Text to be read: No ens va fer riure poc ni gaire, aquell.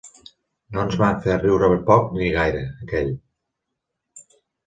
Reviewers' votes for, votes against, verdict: 2, 0, accepted